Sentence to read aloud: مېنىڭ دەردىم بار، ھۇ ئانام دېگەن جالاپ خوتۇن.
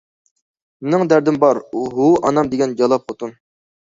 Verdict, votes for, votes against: rejected, 0, 2